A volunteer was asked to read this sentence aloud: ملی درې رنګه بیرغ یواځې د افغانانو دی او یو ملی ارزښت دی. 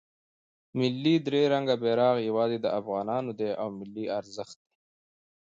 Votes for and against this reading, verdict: 2, 0, accepted